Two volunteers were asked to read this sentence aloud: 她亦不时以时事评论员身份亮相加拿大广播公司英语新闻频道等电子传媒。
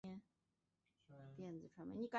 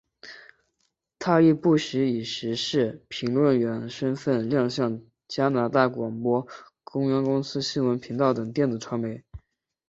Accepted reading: second